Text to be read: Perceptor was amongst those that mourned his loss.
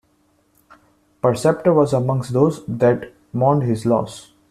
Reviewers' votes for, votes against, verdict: 2, 0, accepted